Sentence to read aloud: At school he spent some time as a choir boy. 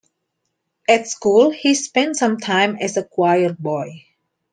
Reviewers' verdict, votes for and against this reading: accepted, 2, 0